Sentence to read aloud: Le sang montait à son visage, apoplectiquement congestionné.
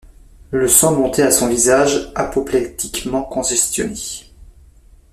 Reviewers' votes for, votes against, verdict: 2, 1, accepted